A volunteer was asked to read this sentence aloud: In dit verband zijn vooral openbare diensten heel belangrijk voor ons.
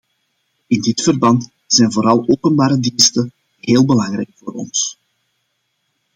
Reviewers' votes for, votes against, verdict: 2, 0, accepted